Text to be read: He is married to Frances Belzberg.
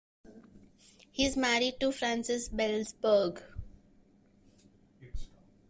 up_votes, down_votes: 2, 1